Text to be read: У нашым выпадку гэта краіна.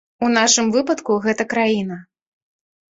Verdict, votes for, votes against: accepted, 2, 0